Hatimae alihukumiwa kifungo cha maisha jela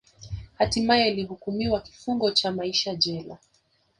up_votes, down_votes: 2, 1